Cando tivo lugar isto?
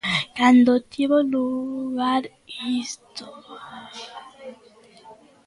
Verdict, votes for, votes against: rejected, 0, 3